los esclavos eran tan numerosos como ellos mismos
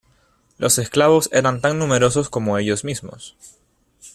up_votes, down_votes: 2, 1